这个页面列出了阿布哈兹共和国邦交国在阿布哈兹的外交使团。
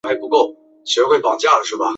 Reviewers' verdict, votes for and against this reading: rejected, 0, 3